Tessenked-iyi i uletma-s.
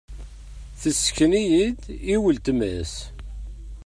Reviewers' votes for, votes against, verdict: 1, 2, rejected